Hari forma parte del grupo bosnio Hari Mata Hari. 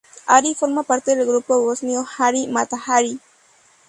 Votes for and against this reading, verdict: 2, 0, accepted